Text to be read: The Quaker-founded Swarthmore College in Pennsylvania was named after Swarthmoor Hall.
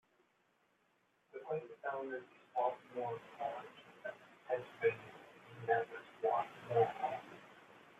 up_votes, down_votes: 0, 2